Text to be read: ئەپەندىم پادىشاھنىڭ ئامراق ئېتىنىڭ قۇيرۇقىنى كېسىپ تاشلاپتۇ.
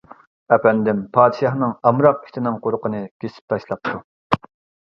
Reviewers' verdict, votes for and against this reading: rejected, 1, 2